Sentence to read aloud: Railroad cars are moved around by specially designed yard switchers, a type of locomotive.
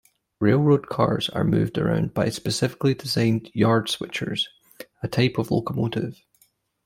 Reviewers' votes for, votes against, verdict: 1, 2, rejected